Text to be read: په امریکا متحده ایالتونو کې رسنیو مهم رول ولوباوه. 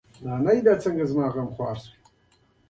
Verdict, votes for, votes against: accepted, 2, 1